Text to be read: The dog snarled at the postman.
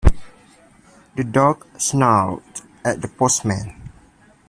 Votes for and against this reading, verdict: 2, 0, accepted